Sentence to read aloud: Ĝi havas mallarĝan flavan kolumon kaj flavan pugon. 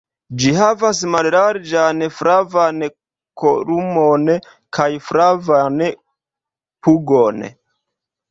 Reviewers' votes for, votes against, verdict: 1, 2, rejected